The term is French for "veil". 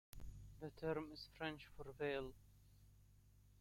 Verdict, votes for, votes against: rejected, 1, 2